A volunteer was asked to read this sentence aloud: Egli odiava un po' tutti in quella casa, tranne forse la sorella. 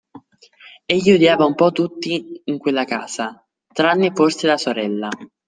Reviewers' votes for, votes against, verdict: 2, 0, accepted